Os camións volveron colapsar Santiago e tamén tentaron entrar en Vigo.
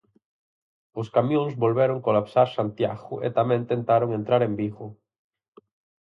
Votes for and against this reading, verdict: 4, 0, accepted